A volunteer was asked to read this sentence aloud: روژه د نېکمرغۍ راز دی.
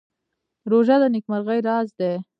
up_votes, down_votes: 0, 2